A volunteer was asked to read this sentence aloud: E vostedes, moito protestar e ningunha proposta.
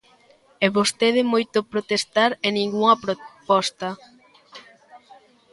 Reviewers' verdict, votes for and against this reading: rejected, 0, 2